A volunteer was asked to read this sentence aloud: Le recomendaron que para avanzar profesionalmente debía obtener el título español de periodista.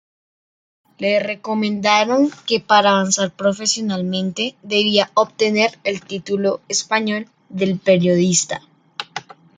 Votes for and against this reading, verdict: 0, 2, rejected